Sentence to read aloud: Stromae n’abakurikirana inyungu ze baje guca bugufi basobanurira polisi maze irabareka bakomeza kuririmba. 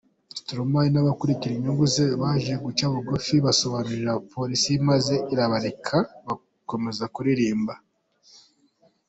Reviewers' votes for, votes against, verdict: 2, 0, accepted